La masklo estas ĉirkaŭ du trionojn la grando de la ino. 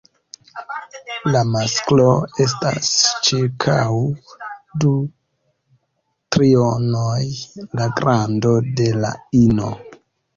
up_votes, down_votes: 1, 2